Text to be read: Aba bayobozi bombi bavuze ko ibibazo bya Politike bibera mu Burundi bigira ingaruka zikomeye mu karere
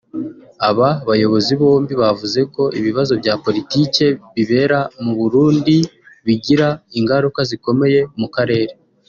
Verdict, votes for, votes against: rejected, 1, 2